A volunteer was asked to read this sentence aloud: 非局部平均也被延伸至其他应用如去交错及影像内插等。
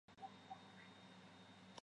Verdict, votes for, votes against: rejected, 0, 2